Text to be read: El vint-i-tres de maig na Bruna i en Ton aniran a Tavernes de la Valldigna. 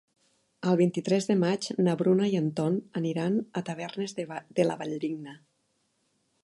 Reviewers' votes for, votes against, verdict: 0, 2, rejected